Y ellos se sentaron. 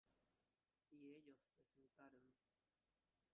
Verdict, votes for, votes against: rejected, 0, 2